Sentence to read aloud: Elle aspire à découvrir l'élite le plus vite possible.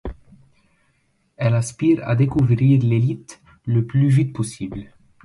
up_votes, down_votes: 2, 0